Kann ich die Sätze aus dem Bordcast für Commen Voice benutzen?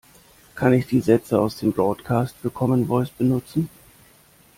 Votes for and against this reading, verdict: 2, 1, accepted